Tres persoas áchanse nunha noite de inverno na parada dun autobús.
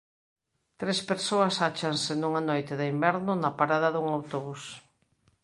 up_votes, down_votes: 2, 1